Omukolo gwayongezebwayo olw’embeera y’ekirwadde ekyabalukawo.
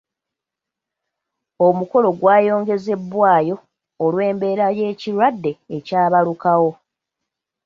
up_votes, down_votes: 2, 0